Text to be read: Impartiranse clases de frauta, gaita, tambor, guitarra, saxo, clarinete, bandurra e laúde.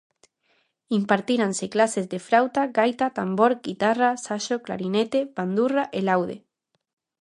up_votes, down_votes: 0, 2